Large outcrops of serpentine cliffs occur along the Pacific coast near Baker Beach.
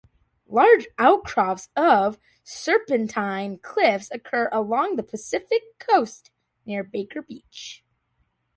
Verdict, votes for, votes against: accepted, 2, 0